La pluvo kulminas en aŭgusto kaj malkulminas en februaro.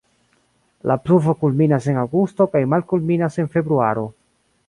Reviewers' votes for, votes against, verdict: 1, 2, rejected